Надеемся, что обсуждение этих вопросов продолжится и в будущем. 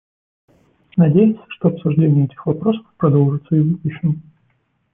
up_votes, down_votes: 2, 0